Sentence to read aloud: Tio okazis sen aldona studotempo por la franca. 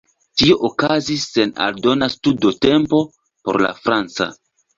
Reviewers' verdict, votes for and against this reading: rejected, 1, 2